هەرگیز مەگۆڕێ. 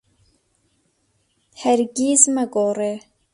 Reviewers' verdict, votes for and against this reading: accepted, 2, 0